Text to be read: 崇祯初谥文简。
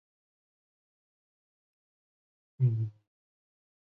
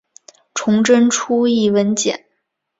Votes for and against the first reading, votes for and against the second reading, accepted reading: 0, 2, 2, 0, second